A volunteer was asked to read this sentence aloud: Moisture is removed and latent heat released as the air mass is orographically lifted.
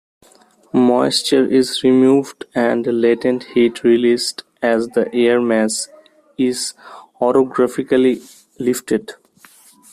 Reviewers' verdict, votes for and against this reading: accepted, 2, 1